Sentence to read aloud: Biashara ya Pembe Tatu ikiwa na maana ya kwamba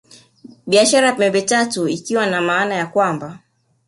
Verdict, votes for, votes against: accepted, 2, 1